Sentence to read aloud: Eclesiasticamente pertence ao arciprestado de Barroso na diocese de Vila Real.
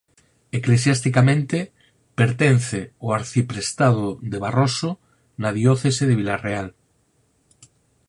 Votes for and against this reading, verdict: 4, 0, accepted